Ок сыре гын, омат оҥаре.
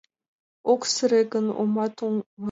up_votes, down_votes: 0, 2